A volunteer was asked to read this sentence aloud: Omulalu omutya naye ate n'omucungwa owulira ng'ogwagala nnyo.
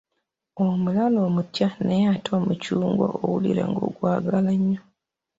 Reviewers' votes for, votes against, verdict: 2, 0, accepted